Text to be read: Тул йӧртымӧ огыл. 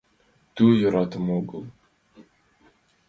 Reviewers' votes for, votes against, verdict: 2, 1, accepted